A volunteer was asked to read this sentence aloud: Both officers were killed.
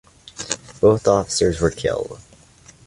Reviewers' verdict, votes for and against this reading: accepted, 2, 0